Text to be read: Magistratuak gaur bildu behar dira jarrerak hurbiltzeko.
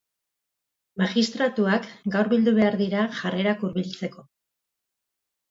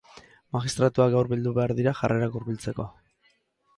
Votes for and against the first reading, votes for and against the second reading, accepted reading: 4, 0, 0, 2, first